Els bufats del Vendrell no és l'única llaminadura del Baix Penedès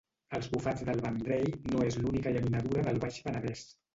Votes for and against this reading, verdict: 0, 2, rejected